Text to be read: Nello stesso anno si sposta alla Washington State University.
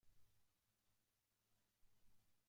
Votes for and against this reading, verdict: 0, 2, rejected